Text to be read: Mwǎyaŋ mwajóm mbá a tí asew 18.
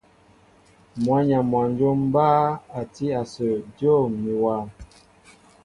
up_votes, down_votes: 0, 2